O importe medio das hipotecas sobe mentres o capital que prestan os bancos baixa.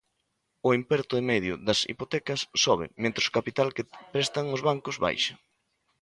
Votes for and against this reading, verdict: 0, 2, rejected